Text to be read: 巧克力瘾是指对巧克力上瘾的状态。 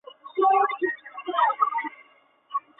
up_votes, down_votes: 0, 2